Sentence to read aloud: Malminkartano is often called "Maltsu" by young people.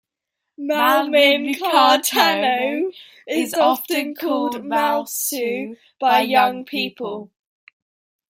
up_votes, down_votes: 1, 2